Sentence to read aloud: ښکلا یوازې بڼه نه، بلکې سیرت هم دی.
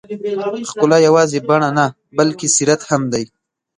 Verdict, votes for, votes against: rejected, 0, 2